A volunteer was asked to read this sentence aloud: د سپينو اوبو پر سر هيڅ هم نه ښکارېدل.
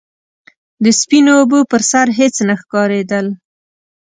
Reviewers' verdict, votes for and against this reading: rejected, 0, 2